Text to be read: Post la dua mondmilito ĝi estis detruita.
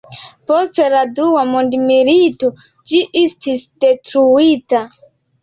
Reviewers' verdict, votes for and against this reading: accepted, 2, 1